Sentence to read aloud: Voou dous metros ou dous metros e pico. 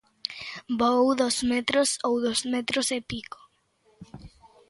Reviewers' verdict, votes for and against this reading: rejected, 1, 2